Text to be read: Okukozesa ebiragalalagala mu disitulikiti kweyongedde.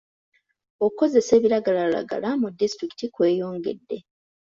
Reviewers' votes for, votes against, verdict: 2, 0, accepted